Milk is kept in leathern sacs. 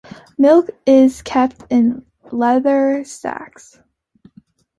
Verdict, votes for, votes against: rejected, 0, 2